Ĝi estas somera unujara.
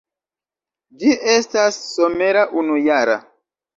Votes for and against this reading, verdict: 3, 1, accepted